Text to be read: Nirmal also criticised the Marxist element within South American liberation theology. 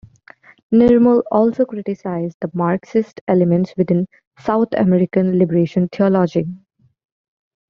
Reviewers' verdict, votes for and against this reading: accepted, 2, 0